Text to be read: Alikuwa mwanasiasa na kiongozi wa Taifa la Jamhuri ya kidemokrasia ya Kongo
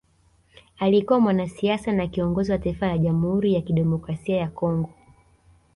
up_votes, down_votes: 2, 0